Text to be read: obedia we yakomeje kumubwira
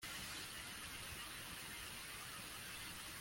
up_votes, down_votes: 0, 2